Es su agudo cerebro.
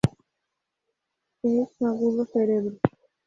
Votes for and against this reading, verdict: 0, 2, rejected